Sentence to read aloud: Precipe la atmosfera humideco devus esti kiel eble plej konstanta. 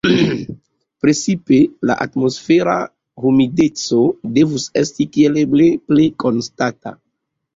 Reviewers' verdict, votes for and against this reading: rejected, 1, 2